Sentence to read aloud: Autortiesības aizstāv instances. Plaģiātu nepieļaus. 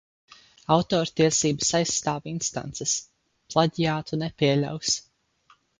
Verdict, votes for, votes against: accepted, 4, 0